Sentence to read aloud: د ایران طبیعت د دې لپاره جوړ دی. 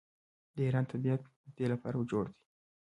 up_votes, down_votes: 1, 2